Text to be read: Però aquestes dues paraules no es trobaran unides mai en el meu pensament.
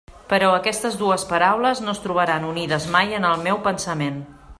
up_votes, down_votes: 3, 0